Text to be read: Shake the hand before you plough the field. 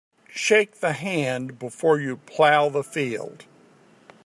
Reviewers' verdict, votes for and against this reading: accepted, 2, 0